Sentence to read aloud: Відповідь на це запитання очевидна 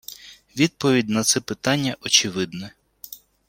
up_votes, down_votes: 1, 2